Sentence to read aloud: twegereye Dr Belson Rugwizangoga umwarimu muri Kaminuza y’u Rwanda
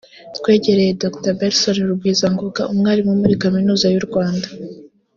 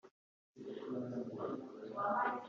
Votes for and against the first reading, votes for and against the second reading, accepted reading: 2, 0, 0, 3, first